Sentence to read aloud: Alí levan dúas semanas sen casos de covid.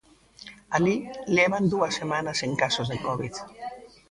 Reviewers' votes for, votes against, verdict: 1, 2, rejected